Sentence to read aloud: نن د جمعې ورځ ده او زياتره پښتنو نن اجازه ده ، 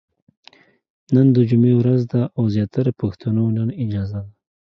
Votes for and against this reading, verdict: 2, 1, accepted